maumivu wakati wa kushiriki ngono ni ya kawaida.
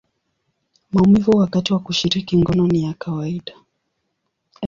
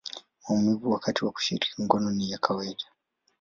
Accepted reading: second